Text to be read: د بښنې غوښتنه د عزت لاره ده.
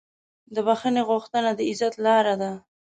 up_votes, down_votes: 2, 0